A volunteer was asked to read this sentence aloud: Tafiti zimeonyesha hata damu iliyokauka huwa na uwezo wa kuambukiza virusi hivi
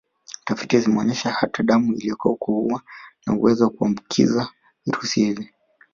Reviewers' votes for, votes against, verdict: 1, 2, rejected